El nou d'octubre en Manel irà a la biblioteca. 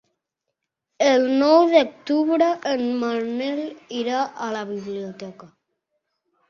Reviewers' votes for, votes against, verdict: 2, 0, accepted